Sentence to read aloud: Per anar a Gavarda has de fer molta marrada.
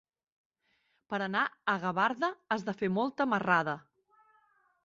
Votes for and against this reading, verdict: 3, 0, accepted